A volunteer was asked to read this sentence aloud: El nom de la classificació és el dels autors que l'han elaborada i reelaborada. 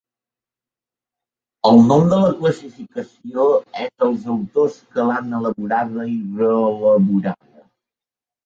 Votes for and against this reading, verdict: 3, 1, accepted